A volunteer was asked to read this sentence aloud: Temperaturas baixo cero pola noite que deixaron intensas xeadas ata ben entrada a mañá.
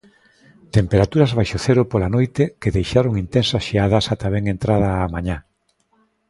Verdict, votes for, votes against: accepted, 2, 0